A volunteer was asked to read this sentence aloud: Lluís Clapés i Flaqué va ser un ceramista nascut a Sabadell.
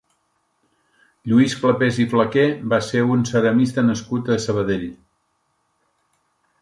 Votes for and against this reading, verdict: 3, 0, accepted